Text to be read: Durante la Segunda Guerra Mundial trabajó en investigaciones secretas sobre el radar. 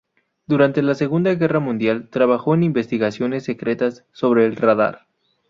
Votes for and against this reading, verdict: 2, 0, accepted